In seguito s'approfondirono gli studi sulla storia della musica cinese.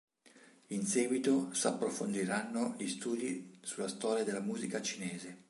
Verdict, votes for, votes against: rejected, 1, 2